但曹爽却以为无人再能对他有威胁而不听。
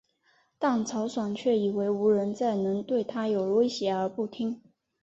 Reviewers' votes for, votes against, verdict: 4, 0, accepted